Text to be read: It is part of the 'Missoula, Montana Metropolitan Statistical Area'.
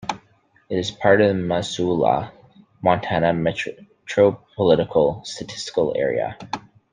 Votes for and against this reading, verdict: 0, 2, rejected